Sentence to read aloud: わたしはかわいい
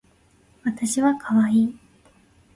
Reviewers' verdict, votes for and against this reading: accepted, 2, 1